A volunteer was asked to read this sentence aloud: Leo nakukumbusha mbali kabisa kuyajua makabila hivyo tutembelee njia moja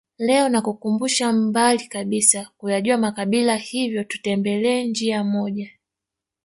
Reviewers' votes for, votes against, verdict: 2, 0, accepted